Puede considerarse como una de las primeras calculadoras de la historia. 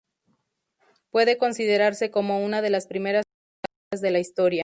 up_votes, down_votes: 0, 2